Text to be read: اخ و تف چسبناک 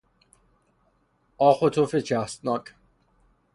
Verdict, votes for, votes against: rejected, 3, 3